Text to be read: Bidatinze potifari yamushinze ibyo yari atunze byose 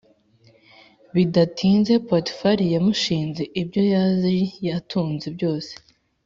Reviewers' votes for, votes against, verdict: 4, 0, accepted